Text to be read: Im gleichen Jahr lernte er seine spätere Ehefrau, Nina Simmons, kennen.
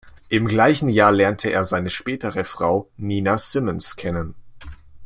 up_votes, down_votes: 0, 2